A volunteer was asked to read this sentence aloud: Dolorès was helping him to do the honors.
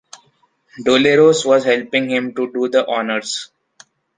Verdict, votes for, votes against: rejected, 0, 2